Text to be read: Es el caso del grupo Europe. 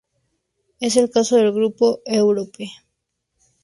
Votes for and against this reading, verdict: 2, 0, accepted